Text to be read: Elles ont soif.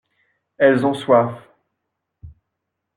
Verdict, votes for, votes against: accepted, 2, 0